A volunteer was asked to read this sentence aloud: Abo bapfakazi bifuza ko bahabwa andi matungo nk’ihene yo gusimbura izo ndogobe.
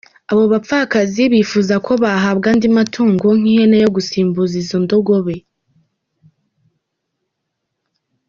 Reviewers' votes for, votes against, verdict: 1, 2, rejected